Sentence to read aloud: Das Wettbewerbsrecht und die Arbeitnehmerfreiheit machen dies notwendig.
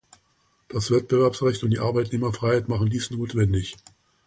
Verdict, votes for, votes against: accepted, 2, 0